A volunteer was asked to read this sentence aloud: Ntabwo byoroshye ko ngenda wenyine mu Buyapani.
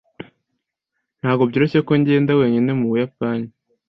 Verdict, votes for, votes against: accepted, 2, 0